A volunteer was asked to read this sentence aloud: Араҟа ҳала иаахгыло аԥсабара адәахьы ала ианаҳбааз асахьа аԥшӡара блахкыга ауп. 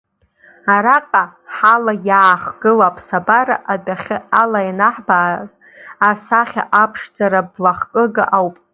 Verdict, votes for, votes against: accepted, 2, 0